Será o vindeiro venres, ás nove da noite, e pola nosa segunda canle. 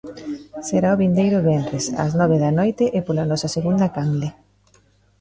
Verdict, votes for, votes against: accepted, 2, 0